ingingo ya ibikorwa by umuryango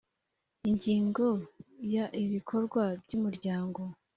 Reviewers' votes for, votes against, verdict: 2, 0, accepted